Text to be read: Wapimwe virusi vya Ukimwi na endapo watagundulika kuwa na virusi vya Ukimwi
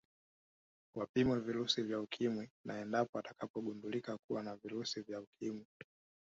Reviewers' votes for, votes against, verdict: 2, 0, accepted